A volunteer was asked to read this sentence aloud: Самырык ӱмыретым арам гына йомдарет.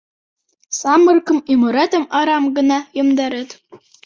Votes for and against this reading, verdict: 0, 2, rejected